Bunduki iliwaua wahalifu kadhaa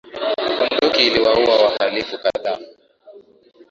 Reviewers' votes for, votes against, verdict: 4, 3, accepted